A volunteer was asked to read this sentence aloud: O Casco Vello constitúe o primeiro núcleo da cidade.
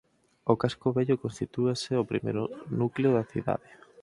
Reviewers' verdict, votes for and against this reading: accepted, 4, 2